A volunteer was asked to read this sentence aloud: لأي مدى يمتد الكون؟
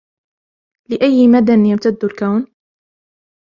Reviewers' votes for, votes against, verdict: 2, 0, accepted